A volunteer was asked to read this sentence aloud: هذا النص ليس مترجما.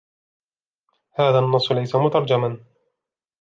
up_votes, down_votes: 2, 0